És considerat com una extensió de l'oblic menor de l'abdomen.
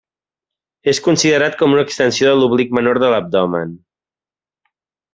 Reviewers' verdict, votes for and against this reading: accepted, 2, 0